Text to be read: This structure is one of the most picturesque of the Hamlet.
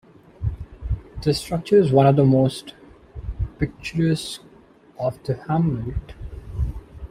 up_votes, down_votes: 0, 2